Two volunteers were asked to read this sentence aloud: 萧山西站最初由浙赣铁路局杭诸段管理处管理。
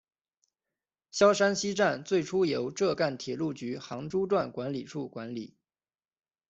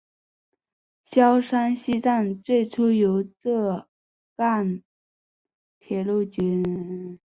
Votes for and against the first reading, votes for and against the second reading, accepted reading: 2, 0, 0, 4, first